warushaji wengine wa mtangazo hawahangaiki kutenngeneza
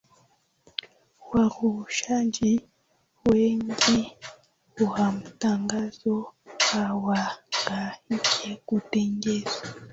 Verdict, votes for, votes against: accepted, 2, 1